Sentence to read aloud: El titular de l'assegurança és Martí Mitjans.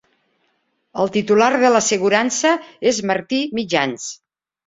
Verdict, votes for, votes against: accepted, 3, 0